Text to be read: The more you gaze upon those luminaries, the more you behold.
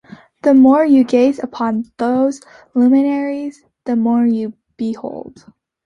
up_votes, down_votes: 2, 1